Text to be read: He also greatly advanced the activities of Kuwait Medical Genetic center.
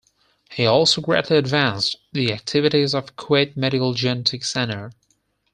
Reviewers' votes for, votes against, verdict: 4, 0, accepted